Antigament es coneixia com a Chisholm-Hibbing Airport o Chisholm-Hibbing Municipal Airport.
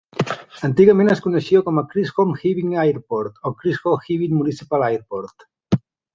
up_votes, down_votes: 2, 0